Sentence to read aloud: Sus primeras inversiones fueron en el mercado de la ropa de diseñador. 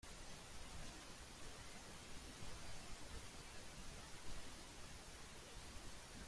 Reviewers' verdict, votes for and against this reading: rejected, 0, 2